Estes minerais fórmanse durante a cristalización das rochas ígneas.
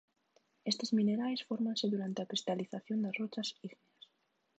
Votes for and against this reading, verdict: 2, 0, accepted